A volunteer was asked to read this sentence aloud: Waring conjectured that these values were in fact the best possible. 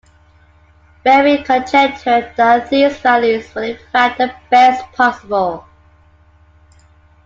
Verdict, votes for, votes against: rejected, 1, 2